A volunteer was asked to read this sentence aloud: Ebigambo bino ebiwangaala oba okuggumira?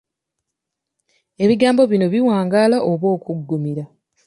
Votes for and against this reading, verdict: 2, 0, accepted